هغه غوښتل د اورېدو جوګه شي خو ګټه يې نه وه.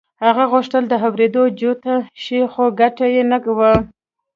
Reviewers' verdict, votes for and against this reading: accepted, 2, 0